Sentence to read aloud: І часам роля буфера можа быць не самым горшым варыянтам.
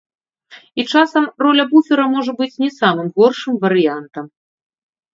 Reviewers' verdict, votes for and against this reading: accepted, 2, 0